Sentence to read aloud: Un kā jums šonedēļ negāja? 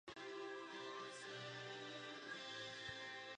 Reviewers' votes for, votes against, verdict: 0, 2, rejected